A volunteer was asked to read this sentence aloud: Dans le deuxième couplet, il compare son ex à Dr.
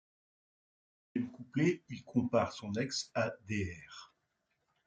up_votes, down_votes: 1, 2